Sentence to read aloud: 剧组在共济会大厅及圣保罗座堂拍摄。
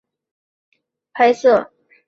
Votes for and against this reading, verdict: 0, 4, rejected